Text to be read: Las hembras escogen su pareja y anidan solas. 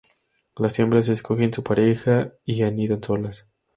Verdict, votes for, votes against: rejected, 0, 2